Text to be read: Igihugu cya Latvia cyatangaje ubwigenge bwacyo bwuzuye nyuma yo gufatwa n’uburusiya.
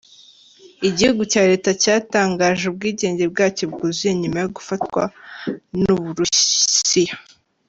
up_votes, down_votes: 1, 2